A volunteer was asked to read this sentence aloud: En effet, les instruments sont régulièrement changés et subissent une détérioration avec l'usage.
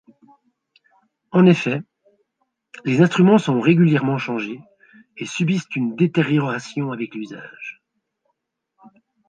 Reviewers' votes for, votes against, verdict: 2, 0, accepted